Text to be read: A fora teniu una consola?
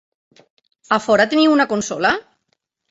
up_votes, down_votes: 3, 0